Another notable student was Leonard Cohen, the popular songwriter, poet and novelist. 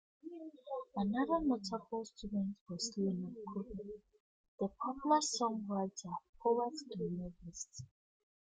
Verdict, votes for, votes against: rejected, 0, 2